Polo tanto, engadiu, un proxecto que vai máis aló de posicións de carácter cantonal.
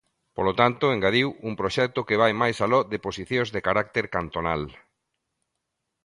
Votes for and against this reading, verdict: 2, 0, accepted